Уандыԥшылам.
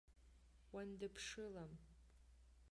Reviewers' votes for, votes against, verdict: 0, 2, rejected